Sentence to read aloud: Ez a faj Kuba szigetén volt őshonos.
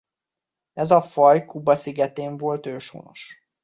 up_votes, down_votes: 2, 0